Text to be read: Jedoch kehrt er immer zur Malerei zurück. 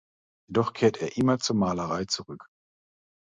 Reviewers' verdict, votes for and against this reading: rejected, 0, 2